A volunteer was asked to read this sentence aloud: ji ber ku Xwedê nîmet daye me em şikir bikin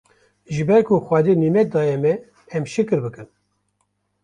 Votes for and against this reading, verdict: 2, 0, accepted